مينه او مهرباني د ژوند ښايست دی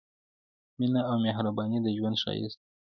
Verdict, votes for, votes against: accepted, 2, 0